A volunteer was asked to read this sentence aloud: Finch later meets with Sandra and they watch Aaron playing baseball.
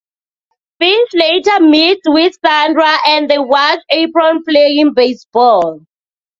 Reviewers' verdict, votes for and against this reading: rejected, 1, 2